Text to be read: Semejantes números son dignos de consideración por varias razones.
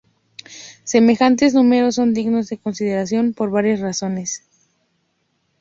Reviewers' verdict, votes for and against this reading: accepted, 2, 0